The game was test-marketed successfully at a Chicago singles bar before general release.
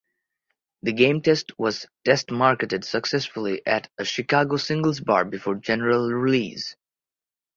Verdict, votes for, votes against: rejected, 0, 2